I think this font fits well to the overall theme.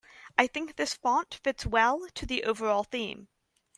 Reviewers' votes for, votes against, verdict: 2, 0, accepted